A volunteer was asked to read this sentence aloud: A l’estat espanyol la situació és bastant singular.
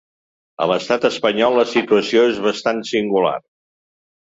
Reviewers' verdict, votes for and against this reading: accepted, 2, 0